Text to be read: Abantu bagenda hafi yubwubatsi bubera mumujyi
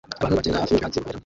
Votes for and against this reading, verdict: 0, 2, rejected